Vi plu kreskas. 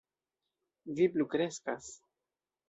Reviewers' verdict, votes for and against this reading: accepted, 2, 0